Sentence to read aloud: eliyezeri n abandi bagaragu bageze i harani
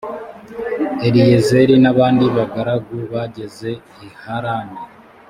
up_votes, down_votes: 2, 0